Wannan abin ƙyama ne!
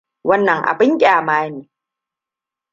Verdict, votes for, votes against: accepted, 2, 0